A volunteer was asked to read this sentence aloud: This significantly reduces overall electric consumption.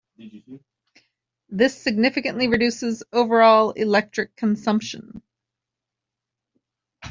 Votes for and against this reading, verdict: 0, 2, rejected